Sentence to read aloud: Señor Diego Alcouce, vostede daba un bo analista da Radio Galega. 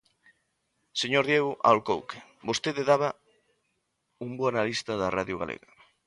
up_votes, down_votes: 0, 2